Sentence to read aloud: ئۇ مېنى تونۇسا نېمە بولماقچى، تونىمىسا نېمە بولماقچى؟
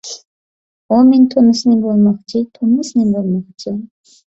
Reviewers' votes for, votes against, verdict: 1, 2, rejected